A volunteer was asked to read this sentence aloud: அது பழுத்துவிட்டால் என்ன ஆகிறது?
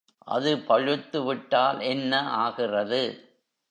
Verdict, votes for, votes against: rejected, 0, 2